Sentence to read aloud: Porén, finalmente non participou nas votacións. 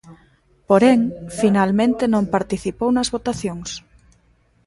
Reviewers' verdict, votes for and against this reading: rejected, 0, 2